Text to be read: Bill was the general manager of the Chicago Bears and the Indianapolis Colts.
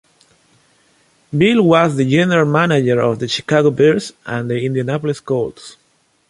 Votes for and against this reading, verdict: 2, 0, accepted